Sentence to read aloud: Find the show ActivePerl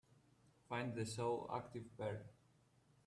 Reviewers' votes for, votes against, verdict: 2, 1, accepted